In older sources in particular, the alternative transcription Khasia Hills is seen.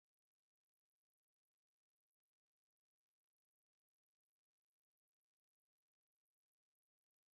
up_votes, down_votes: 1, 2